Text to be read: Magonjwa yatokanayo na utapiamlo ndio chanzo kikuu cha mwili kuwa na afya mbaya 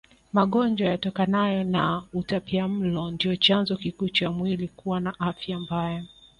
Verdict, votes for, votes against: rejected, 0, 2